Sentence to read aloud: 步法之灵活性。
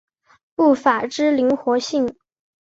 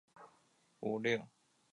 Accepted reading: first